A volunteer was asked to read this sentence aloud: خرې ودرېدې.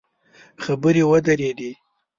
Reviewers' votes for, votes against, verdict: 1, 2, rejected